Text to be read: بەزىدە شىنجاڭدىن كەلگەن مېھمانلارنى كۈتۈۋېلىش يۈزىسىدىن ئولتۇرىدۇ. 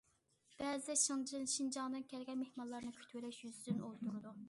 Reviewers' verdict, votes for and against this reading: rejected, 0, 2